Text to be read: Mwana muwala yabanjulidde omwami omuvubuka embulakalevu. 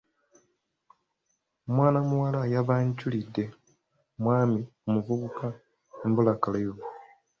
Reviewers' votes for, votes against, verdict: 2, 1, accepted